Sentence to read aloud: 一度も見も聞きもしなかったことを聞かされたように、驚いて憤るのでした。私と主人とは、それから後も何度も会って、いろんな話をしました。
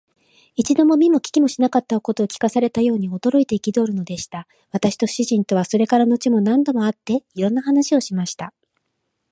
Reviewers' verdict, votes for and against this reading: accepted, 2, 0